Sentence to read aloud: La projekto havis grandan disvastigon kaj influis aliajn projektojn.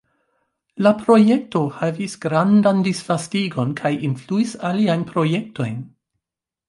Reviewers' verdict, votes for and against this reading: rejected, 0, 2